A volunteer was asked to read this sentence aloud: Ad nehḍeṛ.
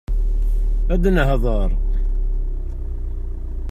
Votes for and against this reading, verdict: 0, 2, rejected